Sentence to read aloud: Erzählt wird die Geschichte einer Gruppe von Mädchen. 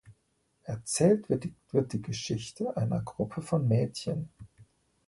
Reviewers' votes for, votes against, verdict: 0, 2, rejected